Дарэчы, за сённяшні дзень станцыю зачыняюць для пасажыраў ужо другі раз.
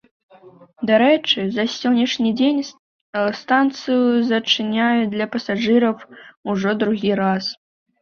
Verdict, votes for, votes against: accepted, 2, 0